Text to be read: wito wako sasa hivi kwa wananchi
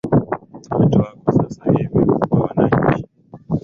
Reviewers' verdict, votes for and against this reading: rejected, 1, 2